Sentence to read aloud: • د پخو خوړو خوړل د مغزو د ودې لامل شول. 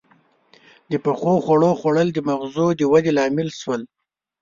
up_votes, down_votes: 2, 0